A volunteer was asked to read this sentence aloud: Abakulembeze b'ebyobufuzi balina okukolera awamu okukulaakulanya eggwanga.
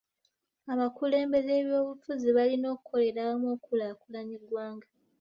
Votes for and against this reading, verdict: 2, 0, accepted